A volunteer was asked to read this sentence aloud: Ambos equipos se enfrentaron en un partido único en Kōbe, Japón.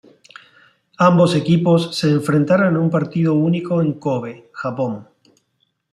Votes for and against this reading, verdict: 2, 0, accepted